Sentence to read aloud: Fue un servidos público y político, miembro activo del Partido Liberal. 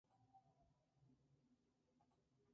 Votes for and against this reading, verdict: 2, 2, rejected